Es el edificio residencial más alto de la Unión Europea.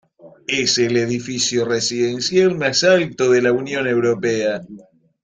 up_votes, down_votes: 2, 0